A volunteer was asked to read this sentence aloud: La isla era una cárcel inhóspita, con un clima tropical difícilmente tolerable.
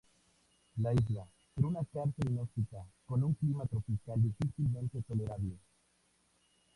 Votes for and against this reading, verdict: 0, 2, rejected